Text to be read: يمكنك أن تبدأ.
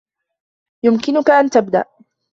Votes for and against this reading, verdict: 2, 0, accepted